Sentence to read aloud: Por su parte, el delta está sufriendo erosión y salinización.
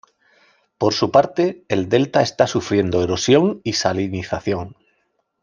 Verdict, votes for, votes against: accepted, 2, 0